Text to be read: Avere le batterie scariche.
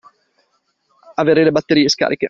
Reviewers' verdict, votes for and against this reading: accepted, 2, 0